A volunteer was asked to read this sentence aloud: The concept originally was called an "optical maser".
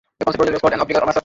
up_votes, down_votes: 0, 2